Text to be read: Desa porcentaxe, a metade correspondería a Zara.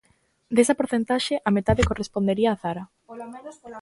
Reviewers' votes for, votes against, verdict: 1, 2, rejected